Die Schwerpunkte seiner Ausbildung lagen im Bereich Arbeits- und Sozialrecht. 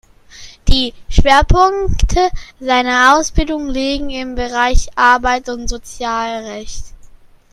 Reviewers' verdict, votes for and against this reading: rejected, 0, 2